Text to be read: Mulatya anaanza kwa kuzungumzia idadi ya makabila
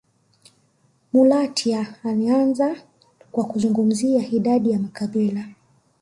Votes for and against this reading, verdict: 2, 0, accepted